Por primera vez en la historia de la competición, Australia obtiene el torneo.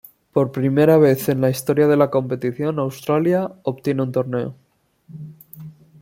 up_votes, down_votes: 1, 2